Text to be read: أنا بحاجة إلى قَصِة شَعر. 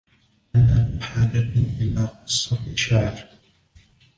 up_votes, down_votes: 2, 1